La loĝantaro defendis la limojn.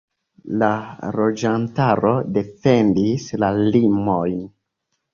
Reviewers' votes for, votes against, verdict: 2, 0, accepted